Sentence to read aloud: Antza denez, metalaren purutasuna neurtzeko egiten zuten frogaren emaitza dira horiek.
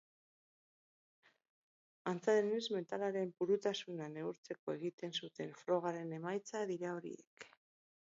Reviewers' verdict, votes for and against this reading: rejected, 2, 4